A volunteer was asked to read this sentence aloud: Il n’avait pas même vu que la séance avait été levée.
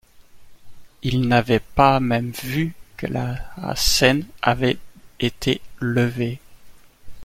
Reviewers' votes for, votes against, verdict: 0, 2, rejected